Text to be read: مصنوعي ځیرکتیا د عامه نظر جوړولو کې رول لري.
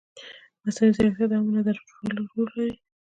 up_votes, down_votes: 1, 2